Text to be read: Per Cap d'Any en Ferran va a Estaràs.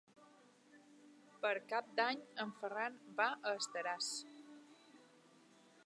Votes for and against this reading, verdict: 4, 0, accepted